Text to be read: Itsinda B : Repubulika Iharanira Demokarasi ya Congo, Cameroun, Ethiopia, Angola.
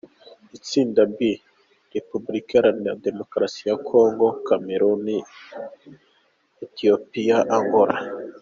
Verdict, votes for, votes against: accepted, 2, 0